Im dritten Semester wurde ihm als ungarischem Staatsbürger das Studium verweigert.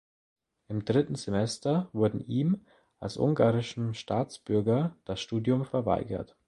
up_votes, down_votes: 1, 2